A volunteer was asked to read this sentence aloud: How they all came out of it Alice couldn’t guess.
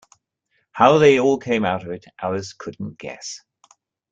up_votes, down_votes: 2, 0